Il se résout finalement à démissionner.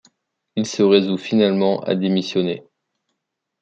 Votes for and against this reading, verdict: 2, 0, accepted